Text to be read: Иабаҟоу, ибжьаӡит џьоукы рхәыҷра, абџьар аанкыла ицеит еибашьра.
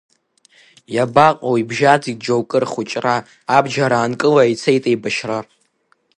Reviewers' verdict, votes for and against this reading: accepted, 3, 0